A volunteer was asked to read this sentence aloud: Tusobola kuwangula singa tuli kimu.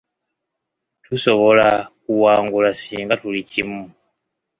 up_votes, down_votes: 1, 2